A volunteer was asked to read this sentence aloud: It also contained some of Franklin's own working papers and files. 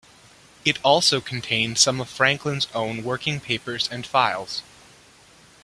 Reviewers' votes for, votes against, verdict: 1, 2, rejected